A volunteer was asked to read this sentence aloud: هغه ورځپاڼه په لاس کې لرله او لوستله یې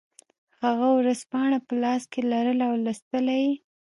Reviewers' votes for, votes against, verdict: 2, 0, accepted